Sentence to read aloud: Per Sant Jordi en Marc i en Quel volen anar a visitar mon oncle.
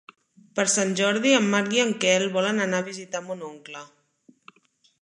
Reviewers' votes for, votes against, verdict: 2, 0, accepted